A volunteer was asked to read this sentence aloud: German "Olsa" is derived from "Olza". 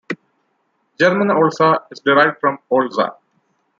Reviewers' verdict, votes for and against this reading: accepted, 2, 0